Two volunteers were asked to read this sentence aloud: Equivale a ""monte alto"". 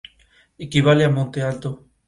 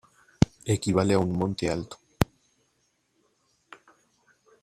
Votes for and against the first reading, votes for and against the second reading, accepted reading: 2, 0, 0, 2, first